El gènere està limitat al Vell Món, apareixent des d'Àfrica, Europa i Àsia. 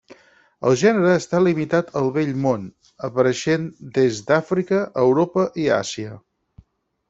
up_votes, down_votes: 4, 0